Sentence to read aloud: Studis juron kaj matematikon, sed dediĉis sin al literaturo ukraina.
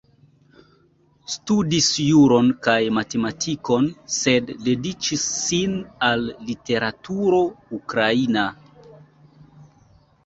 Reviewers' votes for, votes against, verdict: 2, 0, accepted